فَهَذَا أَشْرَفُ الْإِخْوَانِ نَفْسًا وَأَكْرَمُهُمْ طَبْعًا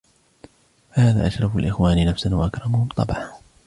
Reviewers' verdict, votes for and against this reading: accepted, 2, 1